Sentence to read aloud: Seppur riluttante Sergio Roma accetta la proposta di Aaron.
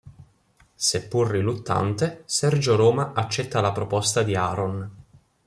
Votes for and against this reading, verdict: 1, 2, rejected